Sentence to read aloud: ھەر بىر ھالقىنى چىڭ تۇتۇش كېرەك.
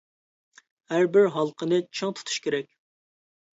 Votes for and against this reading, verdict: 2, 0, accepted